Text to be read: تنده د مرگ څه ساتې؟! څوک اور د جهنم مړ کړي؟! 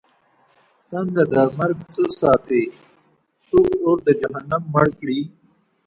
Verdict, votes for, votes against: rejected, 0, 2